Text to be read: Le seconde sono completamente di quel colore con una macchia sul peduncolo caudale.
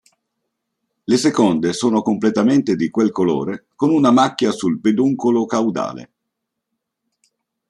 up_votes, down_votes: 4, 0